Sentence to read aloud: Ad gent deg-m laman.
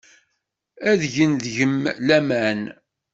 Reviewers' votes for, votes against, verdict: 2, 0, accepted